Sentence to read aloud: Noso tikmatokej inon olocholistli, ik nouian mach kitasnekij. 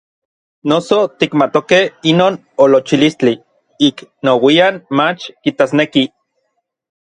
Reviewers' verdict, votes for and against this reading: rejected, 1, 2